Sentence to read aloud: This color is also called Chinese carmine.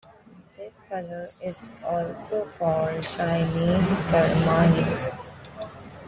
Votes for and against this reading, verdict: 2, 0, accepted